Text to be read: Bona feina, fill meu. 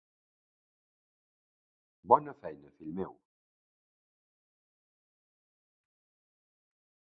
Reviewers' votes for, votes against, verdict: 0, 2, rejected